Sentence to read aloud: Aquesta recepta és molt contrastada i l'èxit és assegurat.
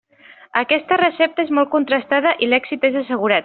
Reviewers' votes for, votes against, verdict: 3, 0, accepted